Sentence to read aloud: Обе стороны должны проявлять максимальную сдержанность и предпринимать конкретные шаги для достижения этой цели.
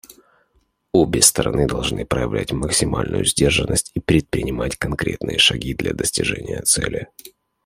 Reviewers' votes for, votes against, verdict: 1, 2, rejected